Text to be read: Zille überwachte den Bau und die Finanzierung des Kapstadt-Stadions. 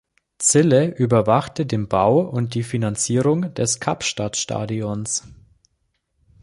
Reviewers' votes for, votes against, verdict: 2, 0, accepted